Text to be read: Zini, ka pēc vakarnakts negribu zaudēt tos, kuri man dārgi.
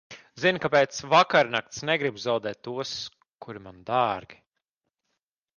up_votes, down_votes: 2, 0